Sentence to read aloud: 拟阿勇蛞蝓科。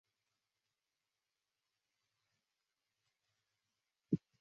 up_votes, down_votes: 2, 0